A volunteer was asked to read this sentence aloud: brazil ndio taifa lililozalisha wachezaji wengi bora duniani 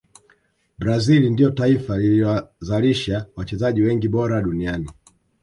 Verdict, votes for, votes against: rejected, 1, 2